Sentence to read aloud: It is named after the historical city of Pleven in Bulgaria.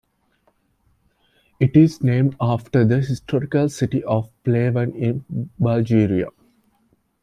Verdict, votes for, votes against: rejected, 1, 2